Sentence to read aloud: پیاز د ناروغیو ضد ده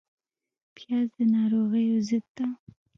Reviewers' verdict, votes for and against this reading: rejected, 1, 2